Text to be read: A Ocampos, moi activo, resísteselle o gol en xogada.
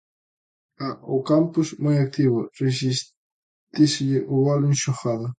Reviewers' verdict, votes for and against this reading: rejected, 0, 2